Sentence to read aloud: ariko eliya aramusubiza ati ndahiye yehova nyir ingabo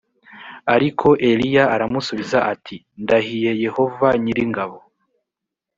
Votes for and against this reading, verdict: 2, 0, accepted